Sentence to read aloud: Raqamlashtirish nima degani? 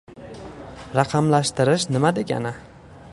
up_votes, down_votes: 2, 0